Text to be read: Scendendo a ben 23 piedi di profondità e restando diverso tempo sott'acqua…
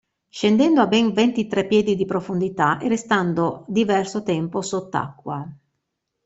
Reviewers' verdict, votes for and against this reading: rejected, 0, 2